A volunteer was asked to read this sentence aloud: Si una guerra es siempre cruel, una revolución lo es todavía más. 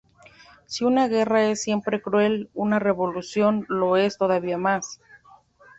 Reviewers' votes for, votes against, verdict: 2, 0, accepted